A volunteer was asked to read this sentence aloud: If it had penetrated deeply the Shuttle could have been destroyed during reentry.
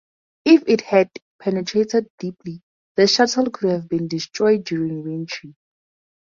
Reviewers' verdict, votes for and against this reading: accepted, 4, 0